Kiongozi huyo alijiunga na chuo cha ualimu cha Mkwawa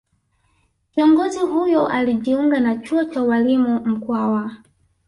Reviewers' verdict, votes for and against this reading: rejected, 0, 2